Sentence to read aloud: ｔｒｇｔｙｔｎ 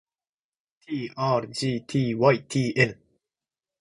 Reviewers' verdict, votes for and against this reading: accepted, 3, 0